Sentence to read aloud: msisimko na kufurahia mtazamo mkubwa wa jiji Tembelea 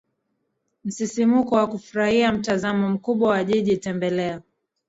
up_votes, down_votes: 1, 2